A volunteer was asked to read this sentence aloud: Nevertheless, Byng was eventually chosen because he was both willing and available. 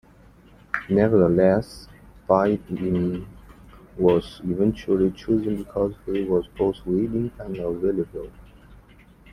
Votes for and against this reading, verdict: 2, 1, accepted